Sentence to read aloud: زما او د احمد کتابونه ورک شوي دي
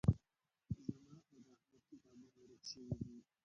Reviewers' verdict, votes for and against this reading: rejected, 0, 2